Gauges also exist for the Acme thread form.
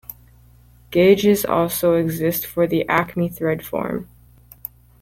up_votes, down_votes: 2, 0